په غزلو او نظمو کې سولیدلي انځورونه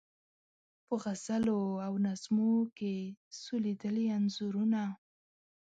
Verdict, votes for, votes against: rejected, 0, 2